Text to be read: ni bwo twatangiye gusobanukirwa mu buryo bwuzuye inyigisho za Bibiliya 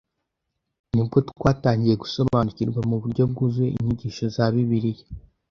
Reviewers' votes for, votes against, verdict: 2, 0, accepted